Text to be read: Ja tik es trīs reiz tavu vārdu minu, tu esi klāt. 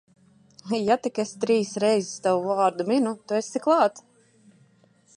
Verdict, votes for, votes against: accepted, 2, 0